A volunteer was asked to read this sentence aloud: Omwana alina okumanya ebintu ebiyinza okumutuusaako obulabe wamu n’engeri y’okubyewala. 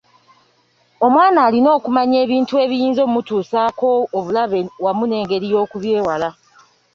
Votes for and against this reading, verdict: 2, 0, accepted